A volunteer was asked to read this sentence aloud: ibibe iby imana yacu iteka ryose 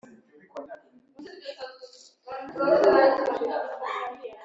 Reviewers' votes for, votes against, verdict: 0, 2, rejected